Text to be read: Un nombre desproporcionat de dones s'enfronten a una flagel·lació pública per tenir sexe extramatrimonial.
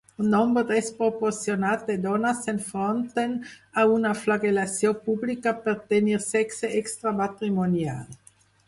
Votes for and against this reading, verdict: 0, 4, rejected